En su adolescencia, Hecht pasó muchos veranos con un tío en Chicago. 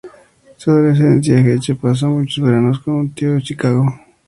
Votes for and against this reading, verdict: 0, 2, rejected